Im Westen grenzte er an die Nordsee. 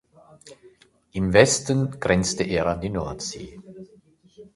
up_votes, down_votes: 2, 0